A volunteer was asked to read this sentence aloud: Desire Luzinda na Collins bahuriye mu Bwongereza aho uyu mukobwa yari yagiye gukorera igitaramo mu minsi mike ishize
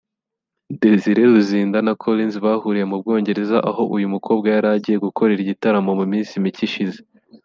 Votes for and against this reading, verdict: 3, 0, accepted